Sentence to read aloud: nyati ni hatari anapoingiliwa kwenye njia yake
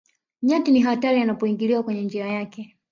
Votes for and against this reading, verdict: 1, 2, rejected